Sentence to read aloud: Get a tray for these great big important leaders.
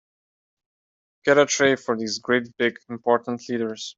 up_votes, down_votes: 2, 0